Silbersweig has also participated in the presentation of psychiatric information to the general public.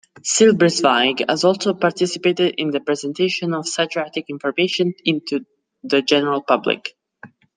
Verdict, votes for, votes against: rejected, 0, 2